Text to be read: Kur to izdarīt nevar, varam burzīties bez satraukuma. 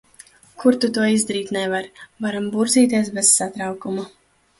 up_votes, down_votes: 0, 2